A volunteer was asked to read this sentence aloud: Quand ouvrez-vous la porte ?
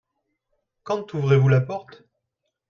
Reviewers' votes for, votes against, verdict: 2, 1, accepted